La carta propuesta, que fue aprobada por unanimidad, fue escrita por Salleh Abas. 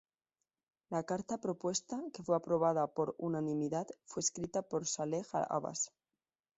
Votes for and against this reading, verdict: 2, 0, accepted